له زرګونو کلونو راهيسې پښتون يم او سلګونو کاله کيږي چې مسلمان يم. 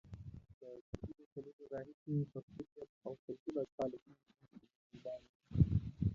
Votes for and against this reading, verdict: 0, 2, rejected